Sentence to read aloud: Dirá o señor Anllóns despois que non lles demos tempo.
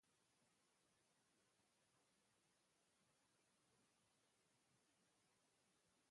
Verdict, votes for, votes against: rejected, 0, 2